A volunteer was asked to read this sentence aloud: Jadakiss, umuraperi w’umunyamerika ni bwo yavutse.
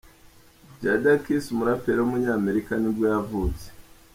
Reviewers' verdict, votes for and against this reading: accepted, 2, 0